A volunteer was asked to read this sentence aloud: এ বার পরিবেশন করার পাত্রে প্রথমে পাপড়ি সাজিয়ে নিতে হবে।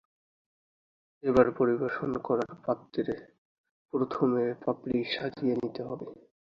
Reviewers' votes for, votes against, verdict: 8, 7, accepted